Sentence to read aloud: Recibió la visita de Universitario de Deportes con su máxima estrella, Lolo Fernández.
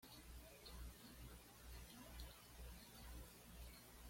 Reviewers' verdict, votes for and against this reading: rejected, 1, 2